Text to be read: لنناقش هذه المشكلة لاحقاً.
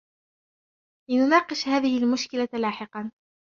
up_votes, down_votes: 2, 0